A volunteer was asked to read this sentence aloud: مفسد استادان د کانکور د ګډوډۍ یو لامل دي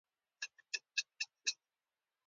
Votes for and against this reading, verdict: 0, 2, rejected